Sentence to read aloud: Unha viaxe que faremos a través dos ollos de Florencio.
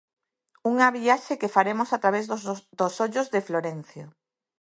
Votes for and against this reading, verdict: 0, 2, rejected